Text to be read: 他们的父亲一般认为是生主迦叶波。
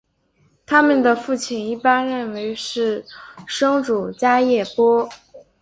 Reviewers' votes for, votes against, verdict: 3, 0, accepted